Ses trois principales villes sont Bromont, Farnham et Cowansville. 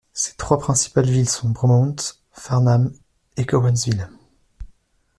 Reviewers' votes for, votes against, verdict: 2, 1, accepted